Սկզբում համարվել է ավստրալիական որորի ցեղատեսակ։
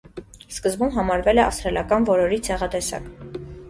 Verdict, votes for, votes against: accepted, 3, 0